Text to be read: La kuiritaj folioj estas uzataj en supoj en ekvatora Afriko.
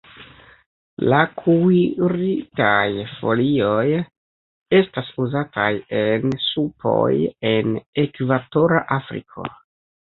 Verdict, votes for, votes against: rejected, 0, 2